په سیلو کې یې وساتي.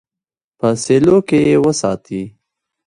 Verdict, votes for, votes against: accepted, 2, 0